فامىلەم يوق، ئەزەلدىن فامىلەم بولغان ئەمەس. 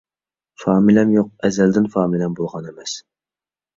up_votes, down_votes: 2, 0